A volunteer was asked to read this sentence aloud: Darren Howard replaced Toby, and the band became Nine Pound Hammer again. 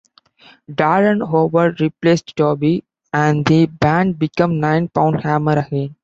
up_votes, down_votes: 2, 0